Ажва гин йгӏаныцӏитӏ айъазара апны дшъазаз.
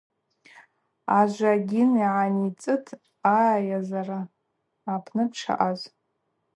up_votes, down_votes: 0, 2